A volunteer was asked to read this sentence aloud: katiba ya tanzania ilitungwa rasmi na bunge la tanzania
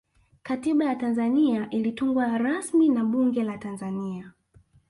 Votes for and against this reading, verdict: 0, 2, rejected